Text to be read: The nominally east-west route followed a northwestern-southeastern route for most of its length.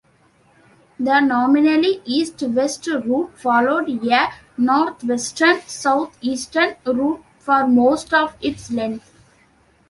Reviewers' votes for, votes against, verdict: 2, 0, accepted